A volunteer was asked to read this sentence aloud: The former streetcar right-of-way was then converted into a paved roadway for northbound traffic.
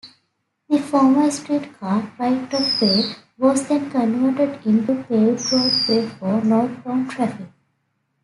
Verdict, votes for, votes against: rejected, 0, 2